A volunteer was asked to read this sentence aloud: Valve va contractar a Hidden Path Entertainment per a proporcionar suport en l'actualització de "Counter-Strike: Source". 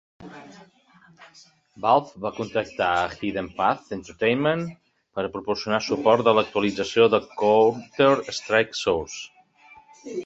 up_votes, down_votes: 2, 0